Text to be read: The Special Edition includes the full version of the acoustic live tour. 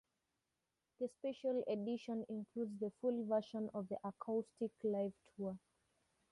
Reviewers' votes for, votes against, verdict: 2, 0, accepted